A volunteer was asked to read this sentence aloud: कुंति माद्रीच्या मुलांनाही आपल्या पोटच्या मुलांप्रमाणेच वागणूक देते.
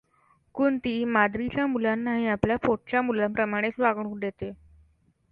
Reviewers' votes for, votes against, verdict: 2, 0, accepted